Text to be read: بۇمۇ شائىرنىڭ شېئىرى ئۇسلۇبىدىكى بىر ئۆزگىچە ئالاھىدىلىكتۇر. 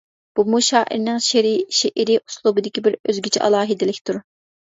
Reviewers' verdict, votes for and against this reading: rejected, 0, 2